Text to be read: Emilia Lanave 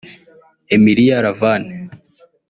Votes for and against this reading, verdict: 0, 2, rejected